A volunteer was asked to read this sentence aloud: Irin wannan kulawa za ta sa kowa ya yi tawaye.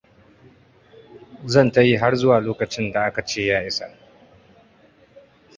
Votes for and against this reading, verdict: 0, 2, rejected